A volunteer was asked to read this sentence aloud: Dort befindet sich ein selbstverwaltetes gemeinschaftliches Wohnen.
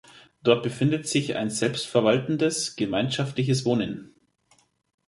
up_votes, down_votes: 0, 2